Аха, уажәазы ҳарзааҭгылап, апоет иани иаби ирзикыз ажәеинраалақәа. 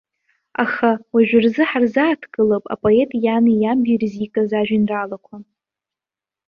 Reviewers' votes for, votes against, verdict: 0, 2, rejected